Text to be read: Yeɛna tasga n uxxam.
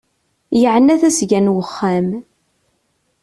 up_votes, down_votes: 2, 0